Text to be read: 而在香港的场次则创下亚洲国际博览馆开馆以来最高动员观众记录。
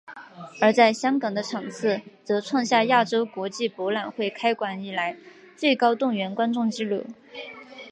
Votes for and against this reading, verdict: 1, 2, rejected